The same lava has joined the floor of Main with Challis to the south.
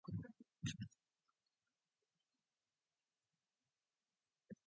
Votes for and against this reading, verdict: 0, 2, rejected